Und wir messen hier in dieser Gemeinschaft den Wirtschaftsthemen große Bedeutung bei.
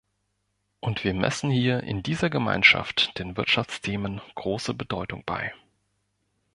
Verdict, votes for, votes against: accepted, 3, 0